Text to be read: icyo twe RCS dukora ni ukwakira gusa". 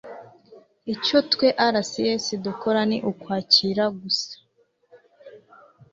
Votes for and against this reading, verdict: 2, 0, accepted